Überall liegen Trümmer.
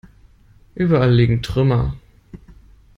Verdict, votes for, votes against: accepted, 2, 0